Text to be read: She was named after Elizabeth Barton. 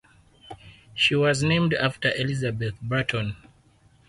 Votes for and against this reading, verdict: 4, 0, accepted